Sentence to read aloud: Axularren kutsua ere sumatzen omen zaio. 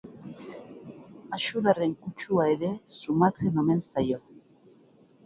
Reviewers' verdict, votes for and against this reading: rejected, 2, 6